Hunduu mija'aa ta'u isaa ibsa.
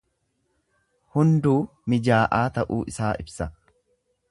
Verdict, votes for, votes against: rejected, 1, 2